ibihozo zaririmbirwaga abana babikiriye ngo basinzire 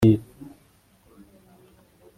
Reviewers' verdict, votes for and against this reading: rejected, 1, 2